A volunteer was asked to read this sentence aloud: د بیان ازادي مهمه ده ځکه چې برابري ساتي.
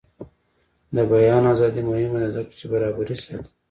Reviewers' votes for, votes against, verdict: 2, 1, accepted